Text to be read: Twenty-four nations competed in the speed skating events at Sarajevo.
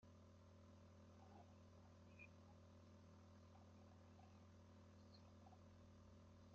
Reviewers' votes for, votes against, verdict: 0, 2, rejected